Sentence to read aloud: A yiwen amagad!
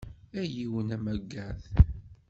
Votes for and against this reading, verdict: 2, 0, accepted